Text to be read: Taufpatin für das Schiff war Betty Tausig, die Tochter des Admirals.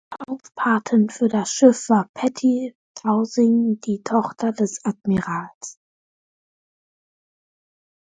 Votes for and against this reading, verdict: 0, 2, rejected